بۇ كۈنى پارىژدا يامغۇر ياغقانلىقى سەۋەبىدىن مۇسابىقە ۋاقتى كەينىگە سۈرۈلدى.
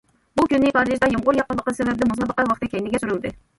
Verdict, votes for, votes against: rejected, 0, 2